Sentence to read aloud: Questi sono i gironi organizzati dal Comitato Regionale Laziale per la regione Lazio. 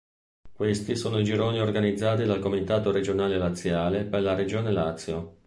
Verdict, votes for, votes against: accepted, 3, 0